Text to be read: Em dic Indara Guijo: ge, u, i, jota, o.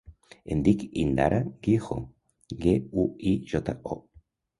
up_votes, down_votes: 0, 2